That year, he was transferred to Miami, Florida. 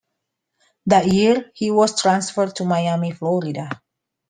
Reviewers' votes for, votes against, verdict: 2, 0, accepted